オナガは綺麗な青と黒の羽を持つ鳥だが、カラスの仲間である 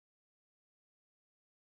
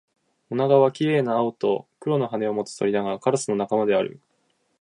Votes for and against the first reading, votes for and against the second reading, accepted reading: 0, 2, 2, 0, second